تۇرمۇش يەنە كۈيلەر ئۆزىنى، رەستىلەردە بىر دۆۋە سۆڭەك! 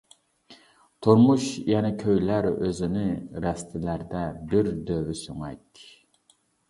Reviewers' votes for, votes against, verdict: 0, 2, rejected